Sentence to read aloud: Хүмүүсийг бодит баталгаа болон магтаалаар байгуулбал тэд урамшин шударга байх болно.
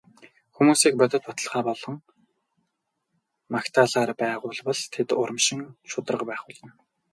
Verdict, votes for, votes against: rejected, 2, 2